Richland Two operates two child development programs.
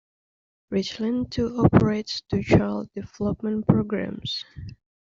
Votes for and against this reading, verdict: 1, 2, rejected